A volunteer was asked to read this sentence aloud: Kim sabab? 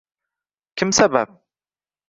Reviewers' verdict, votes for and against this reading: accepted, 2, 0